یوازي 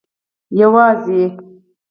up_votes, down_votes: 2, 4